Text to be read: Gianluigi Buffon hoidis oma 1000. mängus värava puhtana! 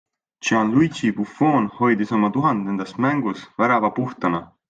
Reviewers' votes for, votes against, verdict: 0, 2, rejected